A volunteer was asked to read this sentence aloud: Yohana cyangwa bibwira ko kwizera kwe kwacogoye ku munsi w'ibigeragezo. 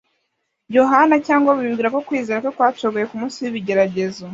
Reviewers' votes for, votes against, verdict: 1, 2, rejected